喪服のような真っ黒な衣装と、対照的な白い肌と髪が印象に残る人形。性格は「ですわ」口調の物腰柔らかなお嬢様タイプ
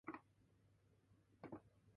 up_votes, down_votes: 1, 2